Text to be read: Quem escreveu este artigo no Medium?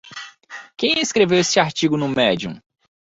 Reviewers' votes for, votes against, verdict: 0, 2, rejected